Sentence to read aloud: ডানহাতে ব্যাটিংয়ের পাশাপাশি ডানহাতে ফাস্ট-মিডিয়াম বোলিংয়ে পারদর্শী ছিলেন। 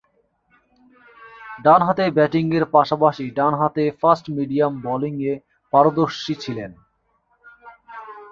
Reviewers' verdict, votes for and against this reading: rejected, 0, 2